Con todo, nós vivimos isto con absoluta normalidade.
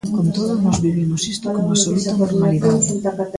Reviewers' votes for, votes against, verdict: 2, 1, accepted